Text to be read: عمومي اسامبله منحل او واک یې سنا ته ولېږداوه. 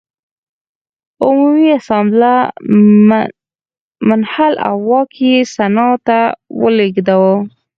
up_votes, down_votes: 2, 4